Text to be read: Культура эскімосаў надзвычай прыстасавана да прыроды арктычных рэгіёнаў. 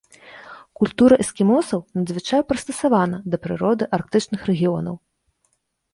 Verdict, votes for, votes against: rejected, 0, 2